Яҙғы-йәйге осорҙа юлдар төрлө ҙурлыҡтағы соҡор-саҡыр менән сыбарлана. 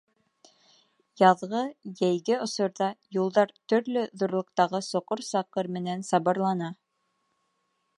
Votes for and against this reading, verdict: 1, 2, rejected